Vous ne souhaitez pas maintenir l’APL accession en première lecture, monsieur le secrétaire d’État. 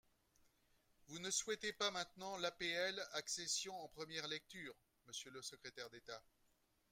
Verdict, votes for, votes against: rejected, 0, 2